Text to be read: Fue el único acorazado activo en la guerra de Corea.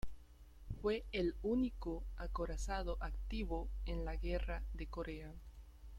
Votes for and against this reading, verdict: 0, 2, rejected